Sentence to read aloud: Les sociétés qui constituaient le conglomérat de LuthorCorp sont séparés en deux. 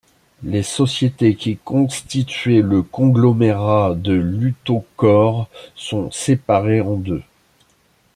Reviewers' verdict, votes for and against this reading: rejected, 1, 2